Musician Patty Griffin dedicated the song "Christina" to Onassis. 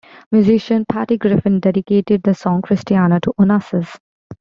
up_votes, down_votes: 0, 2